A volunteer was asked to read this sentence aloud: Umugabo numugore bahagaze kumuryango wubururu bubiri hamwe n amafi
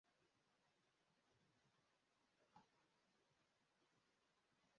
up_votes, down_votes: 0, 2